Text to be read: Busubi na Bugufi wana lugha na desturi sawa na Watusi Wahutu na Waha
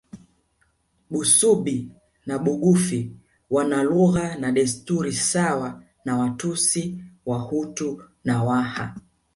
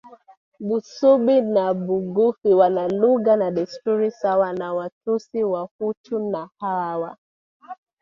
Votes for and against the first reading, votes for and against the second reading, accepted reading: 2, 0, 1, 3, first